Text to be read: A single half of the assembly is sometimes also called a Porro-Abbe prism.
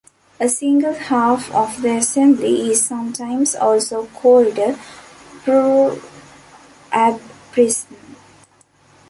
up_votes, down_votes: 0, 2